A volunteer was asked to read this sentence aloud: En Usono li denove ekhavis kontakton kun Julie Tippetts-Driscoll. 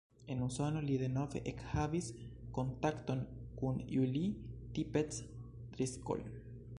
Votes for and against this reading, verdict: 1, 2, rejected